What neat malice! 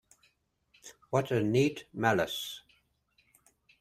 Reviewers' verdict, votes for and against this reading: rejected, 0, 2